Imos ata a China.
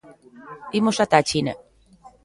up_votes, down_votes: 0, 2